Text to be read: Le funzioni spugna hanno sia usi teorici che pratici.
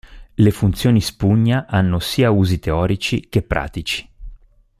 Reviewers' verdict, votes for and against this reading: accepted, 2, 0